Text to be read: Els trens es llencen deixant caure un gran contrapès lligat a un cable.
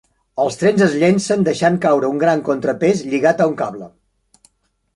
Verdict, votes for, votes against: rejected, 0, 2